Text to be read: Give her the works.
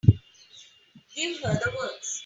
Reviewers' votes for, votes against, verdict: 0, 3, rejected